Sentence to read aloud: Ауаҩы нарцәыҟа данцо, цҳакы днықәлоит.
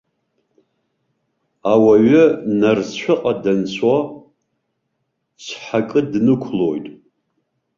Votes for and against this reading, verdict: 2, 1, accepted